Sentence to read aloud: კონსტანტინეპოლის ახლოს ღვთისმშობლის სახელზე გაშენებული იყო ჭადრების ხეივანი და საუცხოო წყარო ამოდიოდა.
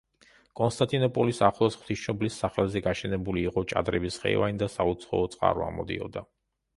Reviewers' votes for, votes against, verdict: 1, 2, rejected